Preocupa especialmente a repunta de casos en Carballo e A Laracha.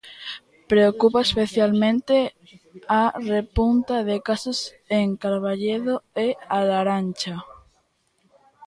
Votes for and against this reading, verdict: 0, 2, rejected